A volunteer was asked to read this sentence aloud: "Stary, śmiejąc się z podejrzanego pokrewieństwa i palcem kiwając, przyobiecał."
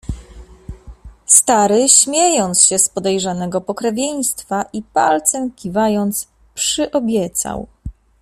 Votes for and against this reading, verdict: 2, 0, accepted